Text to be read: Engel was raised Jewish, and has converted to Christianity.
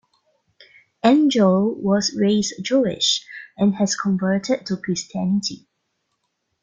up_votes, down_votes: 1, 2